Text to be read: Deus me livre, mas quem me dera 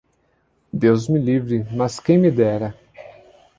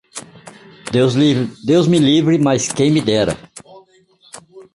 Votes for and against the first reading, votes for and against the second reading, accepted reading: 2, 0, 0, 2, first